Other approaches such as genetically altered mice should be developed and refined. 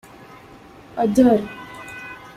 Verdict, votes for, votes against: rejected, 0, 2